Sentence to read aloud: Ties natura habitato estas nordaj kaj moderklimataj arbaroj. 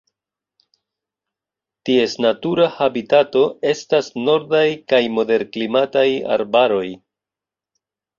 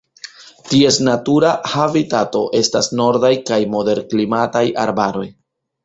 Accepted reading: first